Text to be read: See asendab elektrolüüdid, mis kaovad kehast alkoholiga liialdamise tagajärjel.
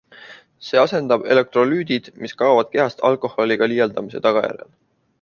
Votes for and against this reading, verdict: 2, 0, accepted